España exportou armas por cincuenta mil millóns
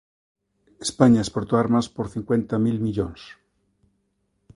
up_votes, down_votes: 2, 0